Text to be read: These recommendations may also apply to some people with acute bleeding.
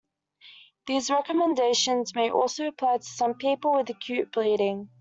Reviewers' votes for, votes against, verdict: 2, 0, accepted